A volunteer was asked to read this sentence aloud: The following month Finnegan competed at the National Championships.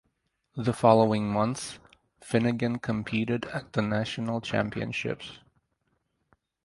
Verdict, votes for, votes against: accepted, 4, 0